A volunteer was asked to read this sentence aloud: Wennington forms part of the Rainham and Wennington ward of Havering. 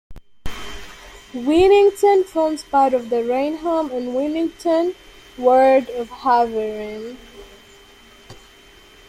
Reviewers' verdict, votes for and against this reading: accepted, 3, 2